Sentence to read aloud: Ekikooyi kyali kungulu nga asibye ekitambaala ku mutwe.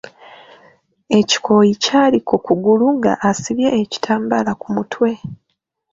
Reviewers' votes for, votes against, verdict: 0, 2, rejected